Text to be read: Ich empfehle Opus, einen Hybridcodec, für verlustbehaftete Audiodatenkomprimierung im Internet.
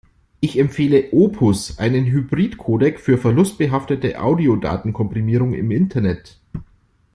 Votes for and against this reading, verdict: 2, 0, accepted